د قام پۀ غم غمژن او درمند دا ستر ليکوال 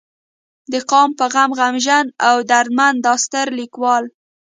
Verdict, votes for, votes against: rejected, 1, 2